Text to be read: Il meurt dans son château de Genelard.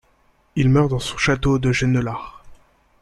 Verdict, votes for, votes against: accepted, 2, 0